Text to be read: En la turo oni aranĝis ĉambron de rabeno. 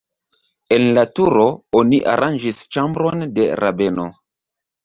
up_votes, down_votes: 2, 0